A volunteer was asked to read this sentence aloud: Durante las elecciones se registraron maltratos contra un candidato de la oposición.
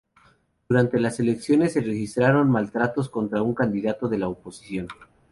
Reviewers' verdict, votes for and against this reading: accepted, 2, 0